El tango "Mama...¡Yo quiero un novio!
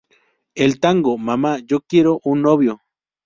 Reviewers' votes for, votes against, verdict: 2, 0, accepted